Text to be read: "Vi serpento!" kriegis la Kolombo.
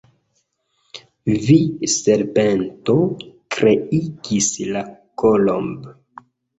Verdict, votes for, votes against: rejected, 0, 2